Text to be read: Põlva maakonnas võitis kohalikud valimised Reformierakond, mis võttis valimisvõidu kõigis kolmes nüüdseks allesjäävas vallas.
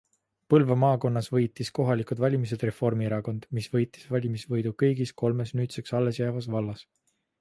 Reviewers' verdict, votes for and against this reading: rejected, 0, 2